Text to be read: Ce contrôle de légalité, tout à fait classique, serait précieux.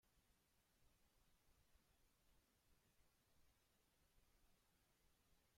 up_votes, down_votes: 1, 2